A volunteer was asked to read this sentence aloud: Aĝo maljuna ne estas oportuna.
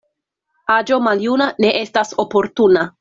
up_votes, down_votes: 2, 0